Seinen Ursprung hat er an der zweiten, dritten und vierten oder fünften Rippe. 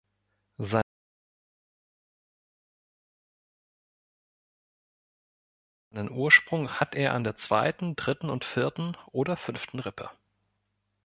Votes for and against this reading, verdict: 1, 2, rejected